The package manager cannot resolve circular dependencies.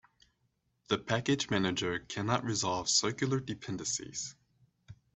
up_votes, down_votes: 2, 0